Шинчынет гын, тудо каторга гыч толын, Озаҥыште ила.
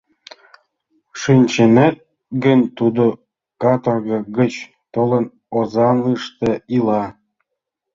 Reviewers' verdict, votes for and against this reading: rejected, 1, 2